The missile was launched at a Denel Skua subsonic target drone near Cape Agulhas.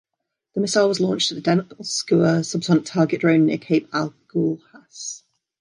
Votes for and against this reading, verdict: 1, 2, rejected